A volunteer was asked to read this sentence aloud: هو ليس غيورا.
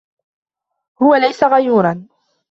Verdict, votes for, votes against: accepted, 2, 1